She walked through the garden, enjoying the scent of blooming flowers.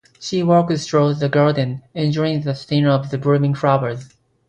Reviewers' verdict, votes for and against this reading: accepted, 2, 0